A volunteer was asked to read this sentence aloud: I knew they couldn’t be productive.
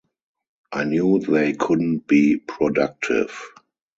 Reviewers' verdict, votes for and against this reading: rejected, 2, 2